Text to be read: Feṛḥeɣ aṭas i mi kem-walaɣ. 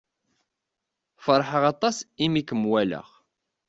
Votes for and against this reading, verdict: 2, 0, accepted